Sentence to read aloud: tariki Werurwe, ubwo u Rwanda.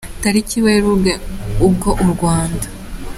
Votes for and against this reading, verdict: 2, 0, accepted